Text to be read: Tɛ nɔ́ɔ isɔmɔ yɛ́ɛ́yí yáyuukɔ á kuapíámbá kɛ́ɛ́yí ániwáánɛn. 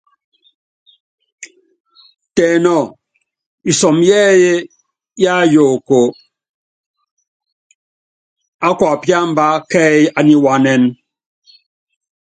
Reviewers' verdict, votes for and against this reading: accepted, 2, 1